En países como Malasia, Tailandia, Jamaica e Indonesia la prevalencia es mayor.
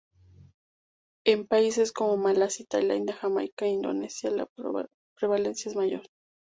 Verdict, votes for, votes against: rejected, 0, 2